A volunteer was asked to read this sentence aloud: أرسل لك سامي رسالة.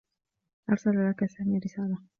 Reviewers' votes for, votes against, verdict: 2, 0, accepted